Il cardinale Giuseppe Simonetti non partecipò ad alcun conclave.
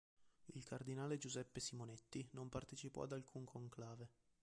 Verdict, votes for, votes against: rejected, 0, 2